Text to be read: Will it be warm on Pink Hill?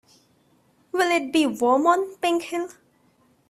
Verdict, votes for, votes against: accepted, 2, 0